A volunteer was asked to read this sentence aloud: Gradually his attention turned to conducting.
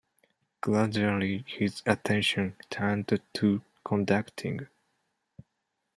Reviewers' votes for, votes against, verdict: 2, 0, accepted